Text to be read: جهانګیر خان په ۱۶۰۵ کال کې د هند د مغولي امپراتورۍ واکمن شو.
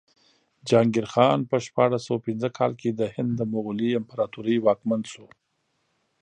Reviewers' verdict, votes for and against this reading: rejected, 0, 2